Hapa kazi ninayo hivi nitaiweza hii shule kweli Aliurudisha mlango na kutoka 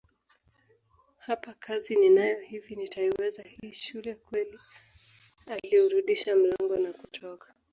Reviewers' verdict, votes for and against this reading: accepted, 2, 0